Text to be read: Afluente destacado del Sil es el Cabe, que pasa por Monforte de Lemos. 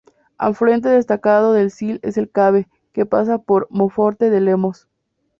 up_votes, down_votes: 0, 2